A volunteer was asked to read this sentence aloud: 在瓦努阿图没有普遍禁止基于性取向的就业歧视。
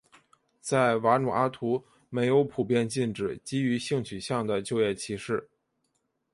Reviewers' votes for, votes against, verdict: 2, 0, accepted